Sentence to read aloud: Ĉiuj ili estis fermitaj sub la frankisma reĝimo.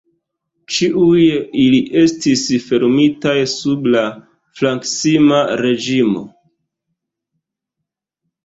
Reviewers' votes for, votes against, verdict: 1, 2, rejected